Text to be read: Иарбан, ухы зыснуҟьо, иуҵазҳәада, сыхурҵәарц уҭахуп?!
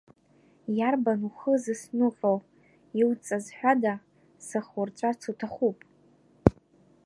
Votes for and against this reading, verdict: 1, 2, rejected